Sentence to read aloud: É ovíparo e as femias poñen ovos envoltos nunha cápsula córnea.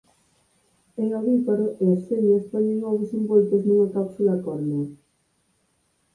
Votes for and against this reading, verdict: 0, 4, rejected